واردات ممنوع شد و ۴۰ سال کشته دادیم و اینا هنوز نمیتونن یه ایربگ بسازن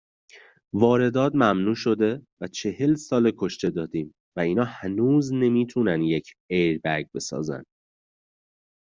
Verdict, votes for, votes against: rejected, 0, 2